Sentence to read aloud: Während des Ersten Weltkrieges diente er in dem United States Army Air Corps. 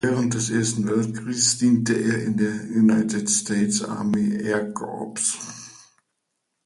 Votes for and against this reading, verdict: 0, 2, rejected